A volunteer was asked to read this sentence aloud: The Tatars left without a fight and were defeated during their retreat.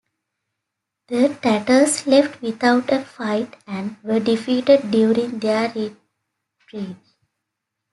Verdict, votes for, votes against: accepted, 2, 1